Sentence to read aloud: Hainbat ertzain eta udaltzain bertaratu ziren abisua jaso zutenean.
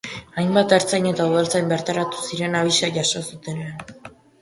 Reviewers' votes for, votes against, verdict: 2, 2, rejected